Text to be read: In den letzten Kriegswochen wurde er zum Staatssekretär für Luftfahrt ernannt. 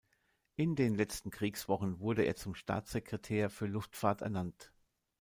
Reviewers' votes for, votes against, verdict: 2, 0, accepted